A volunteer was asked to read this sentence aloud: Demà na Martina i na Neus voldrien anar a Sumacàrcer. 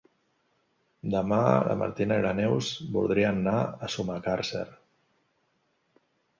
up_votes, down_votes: 0, 2